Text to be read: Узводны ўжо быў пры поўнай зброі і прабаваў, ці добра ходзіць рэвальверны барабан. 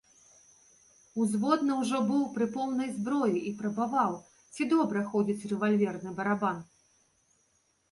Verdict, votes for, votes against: accepted, 2, 0